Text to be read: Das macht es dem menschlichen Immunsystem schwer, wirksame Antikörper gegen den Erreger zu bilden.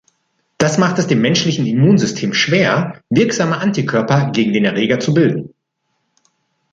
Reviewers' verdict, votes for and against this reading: accepted, 2, 0